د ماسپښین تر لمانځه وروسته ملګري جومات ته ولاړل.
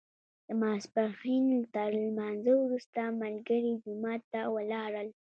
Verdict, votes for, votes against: accepted, 2, 1